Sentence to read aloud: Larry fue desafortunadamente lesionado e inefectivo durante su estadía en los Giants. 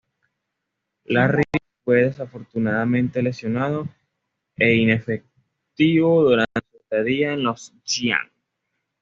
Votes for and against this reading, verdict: 1, 2, rejected